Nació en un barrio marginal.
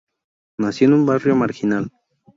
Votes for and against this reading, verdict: 2, 0, accepted